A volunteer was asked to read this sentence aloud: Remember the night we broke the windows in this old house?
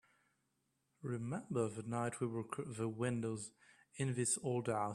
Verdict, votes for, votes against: rejected, 1, 2